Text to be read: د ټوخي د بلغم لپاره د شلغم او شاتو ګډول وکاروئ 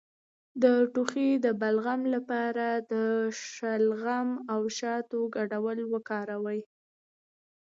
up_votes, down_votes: 2, 0